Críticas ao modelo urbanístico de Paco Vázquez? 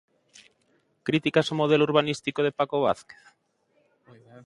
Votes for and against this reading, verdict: 2, 1, accepted